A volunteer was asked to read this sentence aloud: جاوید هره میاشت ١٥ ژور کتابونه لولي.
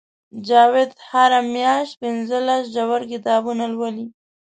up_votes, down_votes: 0, 2